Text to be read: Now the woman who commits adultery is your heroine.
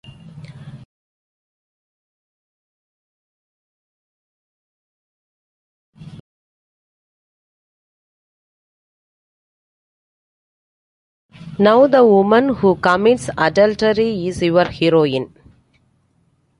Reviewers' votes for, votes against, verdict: 0, 2, rejected